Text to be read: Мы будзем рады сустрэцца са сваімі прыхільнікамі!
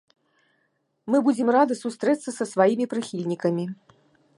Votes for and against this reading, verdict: 2, 0, accepted